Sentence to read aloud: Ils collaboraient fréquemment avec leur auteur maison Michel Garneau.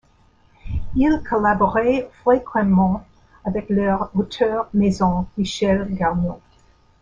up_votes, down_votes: 1, 2